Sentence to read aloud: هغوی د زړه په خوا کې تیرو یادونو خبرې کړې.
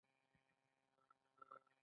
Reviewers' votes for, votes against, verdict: 2, 1, accepted